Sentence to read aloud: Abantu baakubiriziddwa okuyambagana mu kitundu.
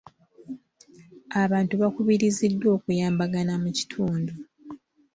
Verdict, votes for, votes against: accepted, 2, 0